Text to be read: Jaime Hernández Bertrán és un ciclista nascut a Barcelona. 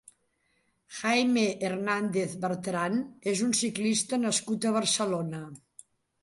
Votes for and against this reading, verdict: 3, 0, accepted